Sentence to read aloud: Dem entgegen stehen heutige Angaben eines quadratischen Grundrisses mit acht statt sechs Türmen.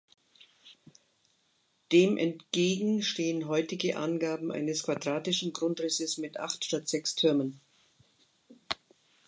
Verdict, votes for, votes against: accepted, 2, 0